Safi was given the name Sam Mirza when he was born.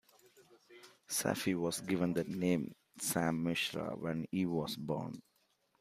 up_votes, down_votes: 2, 0